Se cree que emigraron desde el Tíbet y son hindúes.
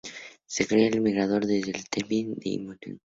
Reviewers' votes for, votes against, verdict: 0, 2, rejected